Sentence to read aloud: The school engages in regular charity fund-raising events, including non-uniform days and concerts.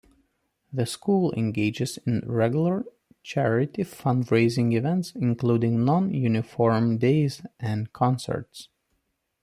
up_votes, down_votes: 2, 0